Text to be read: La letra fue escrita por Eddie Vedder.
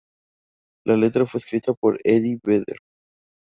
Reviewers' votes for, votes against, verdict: 2, 0, accepted